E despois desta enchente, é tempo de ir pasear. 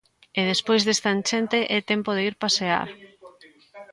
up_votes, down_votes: 2, 1